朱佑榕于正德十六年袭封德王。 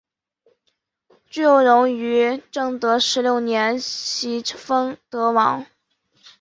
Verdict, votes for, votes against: rejected, 0, 2